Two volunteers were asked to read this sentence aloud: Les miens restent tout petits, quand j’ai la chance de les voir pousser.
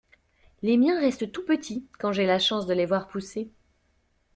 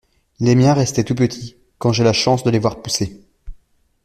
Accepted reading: first